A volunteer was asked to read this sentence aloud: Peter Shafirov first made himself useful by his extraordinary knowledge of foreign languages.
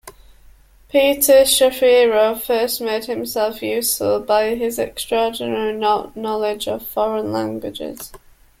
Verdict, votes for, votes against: rejected, 0, 2